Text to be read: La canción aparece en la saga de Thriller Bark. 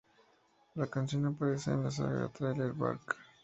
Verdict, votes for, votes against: accepted, 2, 0